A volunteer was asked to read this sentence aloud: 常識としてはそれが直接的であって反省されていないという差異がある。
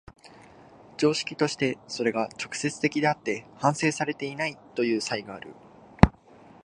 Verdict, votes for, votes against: rejected, 2, 3